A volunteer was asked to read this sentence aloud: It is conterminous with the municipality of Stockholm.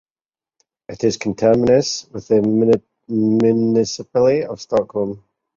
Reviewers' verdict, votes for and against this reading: rejected, 0, 4